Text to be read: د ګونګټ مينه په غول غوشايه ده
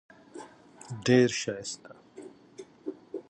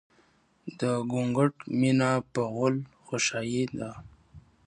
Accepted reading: second